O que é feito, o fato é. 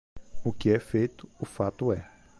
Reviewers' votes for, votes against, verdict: 2, 0, accepted